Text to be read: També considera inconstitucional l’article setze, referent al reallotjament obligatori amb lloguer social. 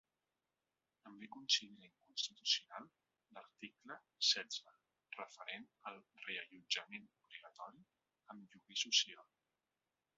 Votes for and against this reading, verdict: 1, 2, rejected